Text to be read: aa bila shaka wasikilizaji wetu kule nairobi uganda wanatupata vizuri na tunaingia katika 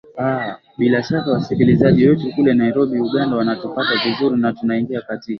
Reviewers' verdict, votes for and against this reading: accepted, 2, 1